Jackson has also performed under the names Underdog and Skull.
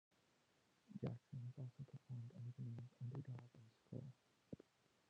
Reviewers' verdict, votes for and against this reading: rejected, 1, 2